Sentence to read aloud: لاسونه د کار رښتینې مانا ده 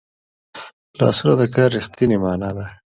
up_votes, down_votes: 2, 0